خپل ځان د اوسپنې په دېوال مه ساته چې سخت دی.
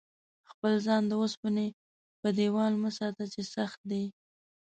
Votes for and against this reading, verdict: 2, 0, accepted